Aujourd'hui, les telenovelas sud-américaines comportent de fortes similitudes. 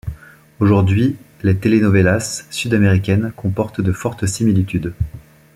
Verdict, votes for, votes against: accepted, 2, 0